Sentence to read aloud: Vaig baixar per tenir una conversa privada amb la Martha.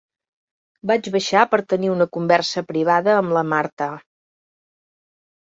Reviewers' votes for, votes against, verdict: 5, 0, accepted